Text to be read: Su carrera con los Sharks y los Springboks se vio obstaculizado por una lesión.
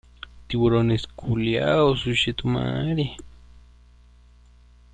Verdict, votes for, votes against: rejected, 0, 2